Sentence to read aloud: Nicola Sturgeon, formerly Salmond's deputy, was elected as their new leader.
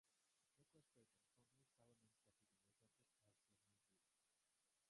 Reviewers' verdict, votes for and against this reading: rejected, 0, 2